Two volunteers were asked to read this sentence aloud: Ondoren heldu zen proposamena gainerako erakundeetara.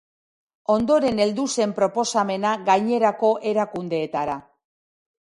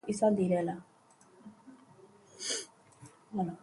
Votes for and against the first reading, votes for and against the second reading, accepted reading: 3, 0, 0, 2, first